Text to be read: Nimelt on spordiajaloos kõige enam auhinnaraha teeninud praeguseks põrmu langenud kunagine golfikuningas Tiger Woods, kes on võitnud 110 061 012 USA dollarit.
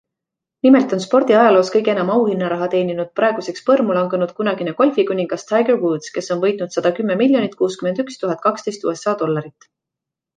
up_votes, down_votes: 0, 2